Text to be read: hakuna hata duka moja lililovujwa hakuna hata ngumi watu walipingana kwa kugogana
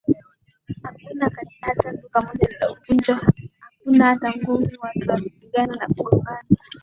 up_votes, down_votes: 2, 0